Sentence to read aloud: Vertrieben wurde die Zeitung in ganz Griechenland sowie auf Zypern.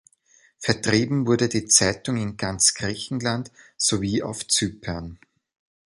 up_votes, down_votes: 2, 0